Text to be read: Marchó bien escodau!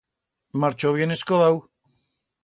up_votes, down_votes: 2, 0